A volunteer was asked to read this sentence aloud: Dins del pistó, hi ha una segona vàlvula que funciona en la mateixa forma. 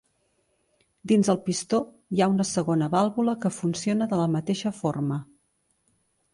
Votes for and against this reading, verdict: 1, 2, rejected